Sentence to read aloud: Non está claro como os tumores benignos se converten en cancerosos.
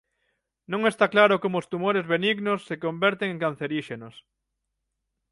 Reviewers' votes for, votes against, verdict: 0, 6, rejected